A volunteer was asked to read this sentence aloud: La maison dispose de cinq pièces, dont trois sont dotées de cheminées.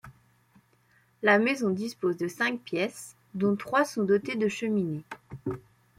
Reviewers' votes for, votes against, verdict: 2, 1, accepted